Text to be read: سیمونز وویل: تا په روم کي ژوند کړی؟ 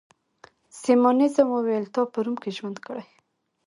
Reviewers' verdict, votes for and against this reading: rejected, 1, 2